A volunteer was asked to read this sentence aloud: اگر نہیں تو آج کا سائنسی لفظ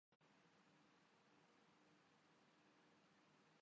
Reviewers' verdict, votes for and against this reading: rejected, 0, 2